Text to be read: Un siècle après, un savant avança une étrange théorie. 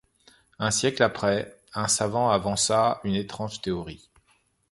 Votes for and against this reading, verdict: 2, 0, accepted